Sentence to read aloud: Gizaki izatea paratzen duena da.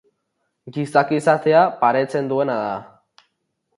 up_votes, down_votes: 0, 2